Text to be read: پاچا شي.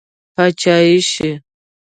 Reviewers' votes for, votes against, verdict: 1, 2, rejected